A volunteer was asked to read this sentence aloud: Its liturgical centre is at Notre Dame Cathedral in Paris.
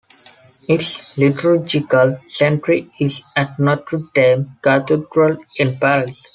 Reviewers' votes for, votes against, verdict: 1, 2, rejected